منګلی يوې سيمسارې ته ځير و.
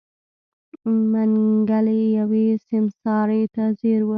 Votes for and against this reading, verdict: 2, 0, accepted